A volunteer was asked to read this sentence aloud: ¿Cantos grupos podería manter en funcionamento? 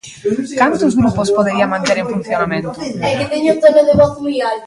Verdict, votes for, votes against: rejected, 0, 3